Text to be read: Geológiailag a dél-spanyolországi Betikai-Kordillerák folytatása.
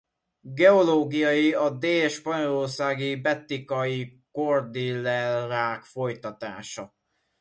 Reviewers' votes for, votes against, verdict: 0, 2, rejected